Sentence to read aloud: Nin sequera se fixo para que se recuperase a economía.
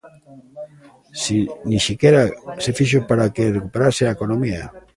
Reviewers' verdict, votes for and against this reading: rejected, 0, 2